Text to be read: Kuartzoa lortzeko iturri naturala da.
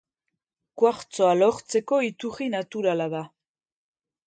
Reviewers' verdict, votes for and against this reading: rejected, 0, 2